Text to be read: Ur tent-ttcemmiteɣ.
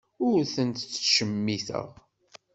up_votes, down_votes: 2, 0